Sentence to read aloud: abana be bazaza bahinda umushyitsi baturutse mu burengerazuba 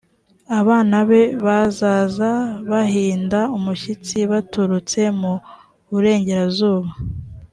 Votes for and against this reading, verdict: 3, 0, accepted